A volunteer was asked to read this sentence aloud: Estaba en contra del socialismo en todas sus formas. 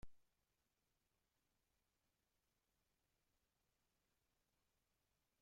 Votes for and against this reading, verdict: 0, 2, rejected